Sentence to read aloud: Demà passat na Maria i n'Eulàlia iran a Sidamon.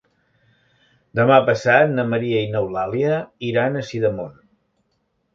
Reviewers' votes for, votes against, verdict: 3, 0, accepted